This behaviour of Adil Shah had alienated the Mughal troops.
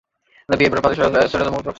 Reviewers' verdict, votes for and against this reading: rejected, 0, 2